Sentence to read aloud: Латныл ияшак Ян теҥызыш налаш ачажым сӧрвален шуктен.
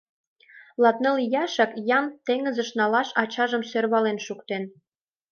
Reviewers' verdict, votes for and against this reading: accepted, 2, 0